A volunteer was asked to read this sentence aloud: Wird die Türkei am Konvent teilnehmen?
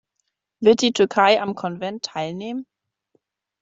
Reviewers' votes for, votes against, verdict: 2, 0, accepted